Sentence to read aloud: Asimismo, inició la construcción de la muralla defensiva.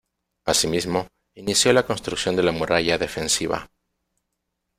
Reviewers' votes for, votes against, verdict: 1, 2, rejected